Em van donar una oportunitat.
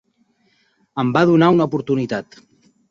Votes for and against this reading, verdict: 2, 3, rejected